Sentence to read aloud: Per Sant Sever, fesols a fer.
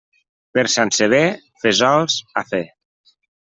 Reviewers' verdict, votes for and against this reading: accepted, 2, 0